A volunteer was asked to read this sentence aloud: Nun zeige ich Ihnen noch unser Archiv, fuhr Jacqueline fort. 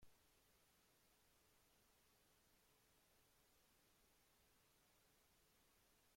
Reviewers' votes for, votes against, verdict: 0, 3, rejected